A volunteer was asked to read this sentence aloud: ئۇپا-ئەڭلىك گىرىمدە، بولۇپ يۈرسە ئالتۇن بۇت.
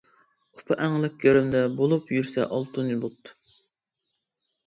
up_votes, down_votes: 1, 2